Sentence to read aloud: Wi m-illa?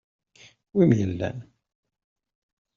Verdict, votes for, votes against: rejected, 1, 2